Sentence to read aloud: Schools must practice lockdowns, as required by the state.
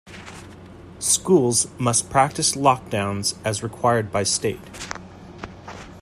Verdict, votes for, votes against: rejected, 0, 2